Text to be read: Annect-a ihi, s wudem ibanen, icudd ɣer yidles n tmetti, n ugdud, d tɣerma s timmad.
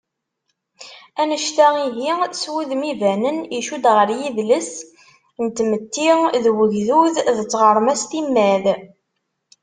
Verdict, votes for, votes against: rejected, 1, 2